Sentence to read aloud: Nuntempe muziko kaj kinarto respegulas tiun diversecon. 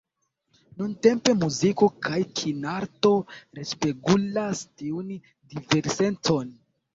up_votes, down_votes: 1, 2